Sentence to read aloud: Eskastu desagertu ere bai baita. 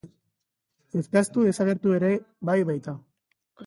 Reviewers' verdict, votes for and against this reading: accepted, 2, 0